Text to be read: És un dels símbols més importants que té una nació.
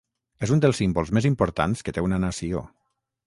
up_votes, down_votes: 6, 0